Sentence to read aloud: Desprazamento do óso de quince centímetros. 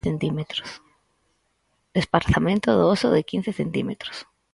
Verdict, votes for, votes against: rejected, 0, 4